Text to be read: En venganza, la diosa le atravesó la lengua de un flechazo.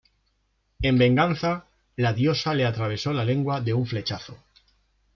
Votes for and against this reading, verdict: 2, 0, accepted